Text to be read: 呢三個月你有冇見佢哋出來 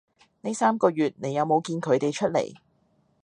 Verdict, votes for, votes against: accepted, 2, 0